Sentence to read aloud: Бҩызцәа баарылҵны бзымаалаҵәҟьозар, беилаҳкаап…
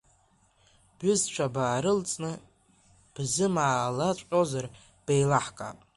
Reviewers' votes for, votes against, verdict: 1, 2, rejected